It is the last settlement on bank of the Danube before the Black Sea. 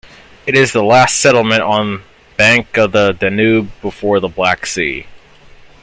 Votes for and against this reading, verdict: 1, 2, rejected